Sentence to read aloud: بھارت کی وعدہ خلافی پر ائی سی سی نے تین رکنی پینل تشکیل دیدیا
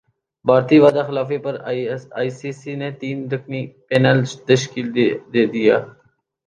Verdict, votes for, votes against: rejected, 0, 3